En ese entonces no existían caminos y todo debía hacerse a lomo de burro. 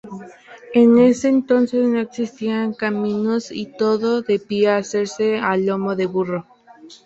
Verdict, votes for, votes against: accepted, 2, 0